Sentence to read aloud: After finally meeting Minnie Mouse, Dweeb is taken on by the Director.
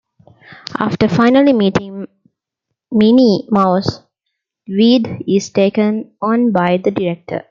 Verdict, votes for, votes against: rejected, 0, 2